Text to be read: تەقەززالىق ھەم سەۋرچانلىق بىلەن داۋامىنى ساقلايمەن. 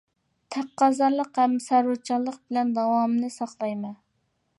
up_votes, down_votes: 0, 2